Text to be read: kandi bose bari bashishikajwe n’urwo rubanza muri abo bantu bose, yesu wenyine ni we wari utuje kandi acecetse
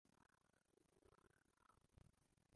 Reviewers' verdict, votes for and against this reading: rejected, 0, 2